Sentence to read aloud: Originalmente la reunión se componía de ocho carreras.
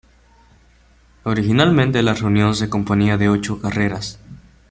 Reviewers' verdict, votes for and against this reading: rejected, 1, 2